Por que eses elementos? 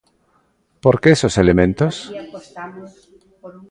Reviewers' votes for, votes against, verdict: 1, 2, rejected